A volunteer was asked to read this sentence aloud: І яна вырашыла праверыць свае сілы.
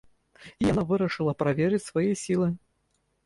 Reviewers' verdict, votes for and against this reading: rejected, 0, 3